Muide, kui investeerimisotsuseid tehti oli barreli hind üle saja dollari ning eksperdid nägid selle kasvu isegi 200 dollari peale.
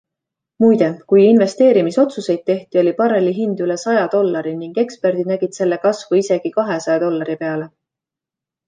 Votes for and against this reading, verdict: 0, 2, rejected